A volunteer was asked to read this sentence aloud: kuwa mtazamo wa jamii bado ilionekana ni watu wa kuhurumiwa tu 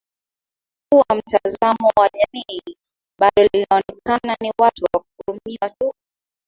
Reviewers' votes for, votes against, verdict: 0, 2, rejected